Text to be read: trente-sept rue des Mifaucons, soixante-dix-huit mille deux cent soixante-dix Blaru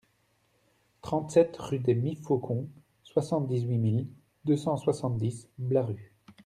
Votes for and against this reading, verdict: 2, 0, accepted